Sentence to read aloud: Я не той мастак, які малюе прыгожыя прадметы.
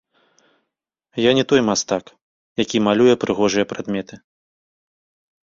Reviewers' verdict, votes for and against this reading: accepted, 2, 0